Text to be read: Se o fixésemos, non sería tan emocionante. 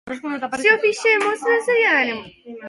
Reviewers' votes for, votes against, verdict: 0, 2, rejected